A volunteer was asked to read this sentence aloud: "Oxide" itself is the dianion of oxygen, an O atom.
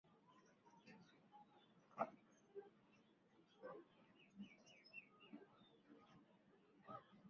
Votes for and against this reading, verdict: 0, 2, rejected